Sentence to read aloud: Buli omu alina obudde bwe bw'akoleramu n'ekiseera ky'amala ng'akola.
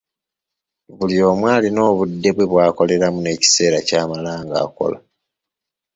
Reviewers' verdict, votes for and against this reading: accepted, 2, 0